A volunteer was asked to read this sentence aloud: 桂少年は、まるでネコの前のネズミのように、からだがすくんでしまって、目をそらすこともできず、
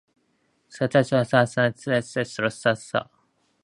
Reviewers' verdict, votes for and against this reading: rejected, 0, 6